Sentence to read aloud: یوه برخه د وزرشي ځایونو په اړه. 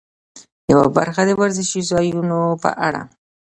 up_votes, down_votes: 2, 0